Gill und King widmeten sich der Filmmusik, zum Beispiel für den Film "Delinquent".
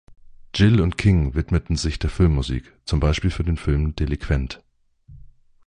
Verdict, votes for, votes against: accepted, 2, 0